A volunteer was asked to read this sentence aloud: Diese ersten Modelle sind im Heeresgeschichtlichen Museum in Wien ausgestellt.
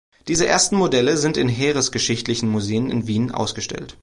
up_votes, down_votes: 1, 2